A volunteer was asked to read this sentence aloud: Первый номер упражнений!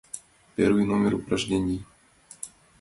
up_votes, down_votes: 2, 0